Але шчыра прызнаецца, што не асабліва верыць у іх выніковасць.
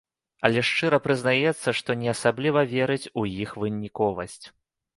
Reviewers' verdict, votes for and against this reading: accepted, 2, 0